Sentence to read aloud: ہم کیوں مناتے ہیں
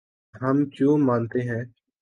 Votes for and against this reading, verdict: 2, 4, rejected